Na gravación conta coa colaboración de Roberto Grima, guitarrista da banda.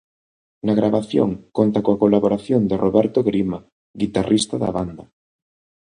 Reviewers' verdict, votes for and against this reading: accepted, 2, 0